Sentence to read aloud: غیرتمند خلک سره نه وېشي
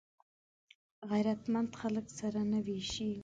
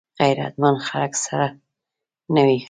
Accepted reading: first